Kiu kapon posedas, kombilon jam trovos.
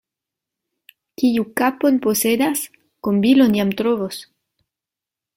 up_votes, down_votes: 2, 0